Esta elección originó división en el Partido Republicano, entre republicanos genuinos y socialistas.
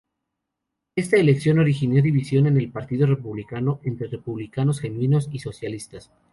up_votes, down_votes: 0, 2